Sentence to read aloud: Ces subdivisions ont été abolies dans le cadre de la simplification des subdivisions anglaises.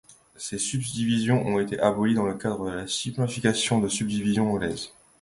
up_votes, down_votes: 2, 0